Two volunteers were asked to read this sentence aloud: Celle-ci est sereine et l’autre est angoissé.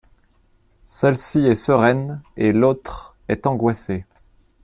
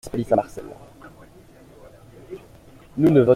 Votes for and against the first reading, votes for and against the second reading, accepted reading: 2, 1, 0, 2, first